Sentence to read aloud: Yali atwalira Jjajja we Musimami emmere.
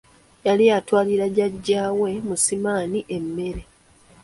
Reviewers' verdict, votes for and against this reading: accepted, 3, 1